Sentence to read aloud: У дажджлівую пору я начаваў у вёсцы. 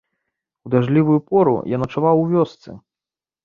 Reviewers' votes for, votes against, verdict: 2, 0, accepted